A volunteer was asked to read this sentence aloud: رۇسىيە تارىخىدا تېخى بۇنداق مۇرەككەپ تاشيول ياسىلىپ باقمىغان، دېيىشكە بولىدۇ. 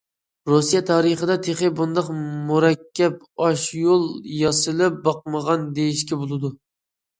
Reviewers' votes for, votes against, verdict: 0, 2, rejected